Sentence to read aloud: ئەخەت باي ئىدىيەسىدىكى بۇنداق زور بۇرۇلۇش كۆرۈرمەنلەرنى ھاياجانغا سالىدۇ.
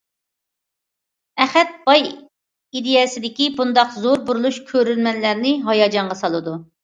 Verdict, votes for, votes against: accepted, 2, 0